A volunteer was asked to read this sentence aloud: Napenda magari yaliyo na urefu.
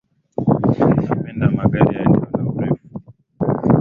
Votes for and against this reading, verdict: 2, 0, accepted